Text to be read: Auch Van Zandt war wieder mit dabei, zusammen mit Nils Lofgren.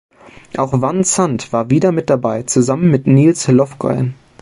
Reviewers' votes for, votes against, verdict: 0, 2, rejected